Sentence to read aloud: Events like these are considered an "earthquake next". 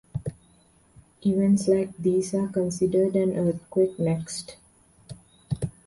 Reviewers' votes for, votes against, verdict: 2, 0, accepted